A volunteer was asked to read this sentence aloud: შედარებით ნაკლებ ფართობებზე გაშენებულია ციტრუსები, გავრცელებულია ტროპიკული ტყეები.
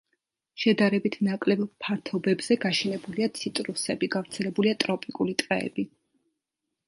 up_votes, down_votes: 2, 0